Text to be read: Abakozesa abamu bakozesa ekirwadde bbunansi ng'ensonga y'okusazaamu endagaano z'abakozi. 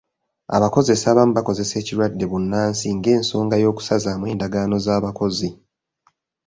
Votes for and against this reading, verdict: 0, 2, rejected